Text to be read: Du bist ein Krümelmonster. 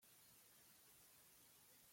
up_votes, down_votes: 0, 2